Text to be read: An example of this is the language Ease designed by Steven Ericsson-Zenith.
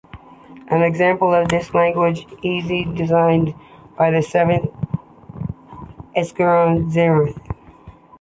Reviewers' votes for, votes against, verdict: 1, 2, rejected